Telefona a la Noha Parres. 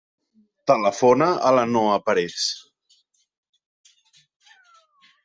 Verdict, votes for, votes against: rejected, 0, 2